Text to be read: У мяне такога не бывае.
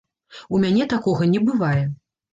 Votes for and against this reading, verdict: 2, 0, accepted